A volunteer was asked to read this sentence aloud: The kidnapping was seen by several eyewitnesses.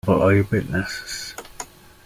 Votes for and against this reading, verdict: 0, 2, rejected